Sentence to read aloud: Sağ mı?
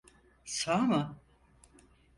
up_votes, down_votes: 4, 0